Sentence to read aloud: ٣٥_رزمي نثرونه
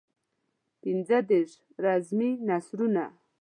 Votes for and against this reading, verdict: 0, 2, rejected